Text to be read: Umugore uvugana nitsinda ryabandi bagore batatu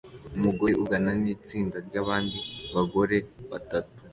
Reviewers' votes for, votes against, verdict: 3, 0, accepted